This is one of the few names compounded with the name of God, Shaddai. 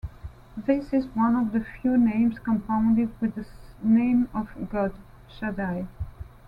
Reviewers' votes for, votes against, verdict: 2, 1, accepted